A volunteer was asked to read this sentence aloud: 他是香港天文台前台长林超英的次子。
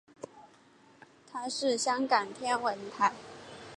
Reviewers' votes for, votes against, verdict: 0, 2, rejected